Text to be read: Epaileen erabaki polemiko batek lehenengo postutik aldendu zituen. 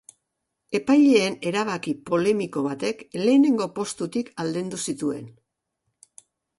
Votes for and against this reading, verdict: 2, 0, accepted